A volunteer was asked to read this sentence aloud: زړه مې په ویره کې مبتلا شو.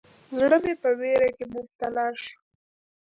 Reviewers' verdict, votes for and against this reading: rejected, 1, 2